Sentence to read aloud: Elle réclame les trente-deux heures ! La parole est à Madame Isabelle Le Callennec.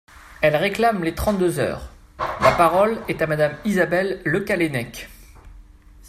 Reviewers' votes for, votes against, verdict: 2, 0, accepted